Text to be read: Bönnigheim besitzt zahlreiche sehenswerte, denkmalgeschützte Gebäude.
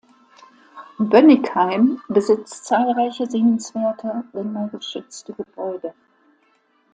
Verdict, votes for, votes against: rejected, 0, 2